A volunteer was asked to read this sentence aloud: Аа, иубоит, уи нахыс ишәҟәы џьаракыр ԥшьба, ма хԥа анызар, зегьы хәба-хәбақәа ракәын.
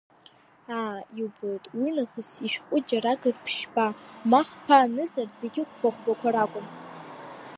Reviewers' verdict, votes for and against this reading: rejected, 0, 2